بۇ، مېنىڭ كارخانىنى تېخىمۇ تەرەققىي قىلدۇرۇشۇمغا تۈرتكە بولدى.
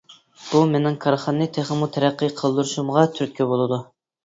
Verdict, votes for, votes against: rejected, 0, 2